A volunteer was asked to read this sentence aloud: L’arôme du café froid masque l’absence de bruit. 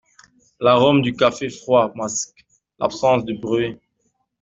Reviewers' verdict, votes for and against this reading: accepted, 2, 0